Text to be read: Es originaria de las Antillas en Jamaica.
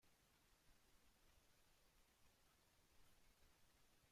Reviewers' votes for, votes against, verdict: 0, 2, rejected